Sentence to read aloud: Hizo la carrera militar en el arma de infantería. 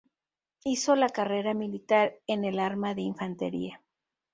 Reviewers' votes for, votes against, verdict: 2, 0, accepted